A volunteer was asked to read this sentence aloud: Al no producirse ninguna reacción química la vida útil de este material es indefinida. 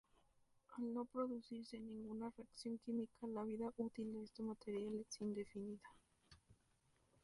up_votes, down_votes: 0, 2